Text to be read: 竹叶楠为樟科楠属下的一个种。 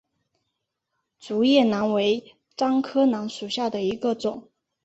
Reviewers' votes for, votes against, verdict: 2, 0, accepted